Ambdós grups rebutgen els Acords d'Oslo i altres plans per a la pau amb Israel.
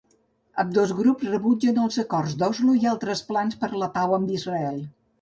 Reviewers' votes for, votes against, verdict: 1, 2, rejected